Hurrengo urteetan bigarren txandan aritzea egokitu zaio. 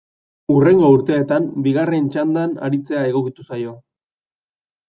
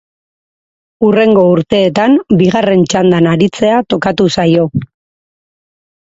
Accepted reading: first